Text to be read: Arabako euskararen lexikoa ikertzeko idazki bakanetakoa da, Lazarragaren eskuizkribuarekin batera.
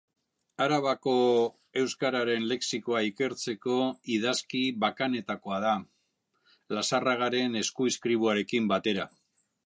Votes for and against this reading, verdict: 2, 0, accepted